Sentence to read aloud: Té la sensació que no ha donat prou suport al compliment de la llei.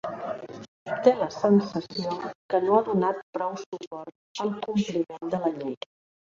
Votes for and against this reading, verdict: 1, 2, rejected